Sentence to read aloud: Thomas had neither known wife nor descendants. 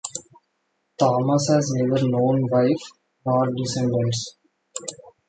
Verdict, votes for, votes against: rejected, 0, 2